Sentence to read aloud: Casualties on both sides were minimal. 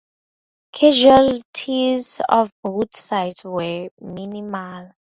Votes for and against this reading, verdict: 2, 8, rejected